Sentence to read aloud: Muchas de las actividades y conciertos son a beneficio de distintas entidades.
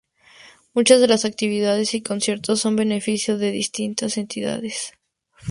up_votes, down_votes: 0, 2